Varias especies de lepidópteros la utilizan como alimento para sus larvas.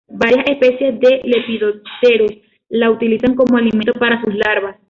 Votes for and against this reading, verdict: 2, 0, accepted